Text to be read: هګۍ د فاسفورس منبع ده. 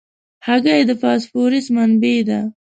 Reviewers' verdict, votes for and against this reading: accepted, 2, 0